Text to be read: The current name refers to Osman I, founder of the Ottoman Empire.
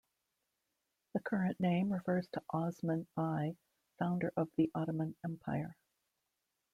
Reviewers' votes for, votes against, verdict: 0, 2, rejected